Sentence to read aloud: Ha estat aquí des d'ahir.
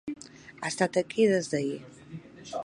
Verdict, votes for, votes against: accepted, 3, 0